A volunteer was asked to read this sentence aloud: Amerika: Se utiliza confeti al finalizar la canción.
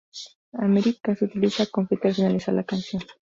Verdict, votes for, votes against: accepted, 2, 0